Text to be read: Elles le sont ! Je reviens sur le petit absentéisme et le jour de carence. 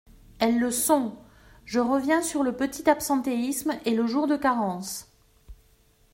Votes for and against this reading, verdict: 2, 0, accepted